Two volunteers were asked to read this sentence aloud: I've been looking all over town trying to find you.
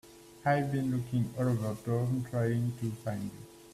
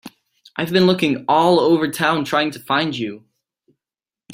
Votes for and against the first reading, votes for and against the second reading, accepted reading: 0, 2, 2, 0, second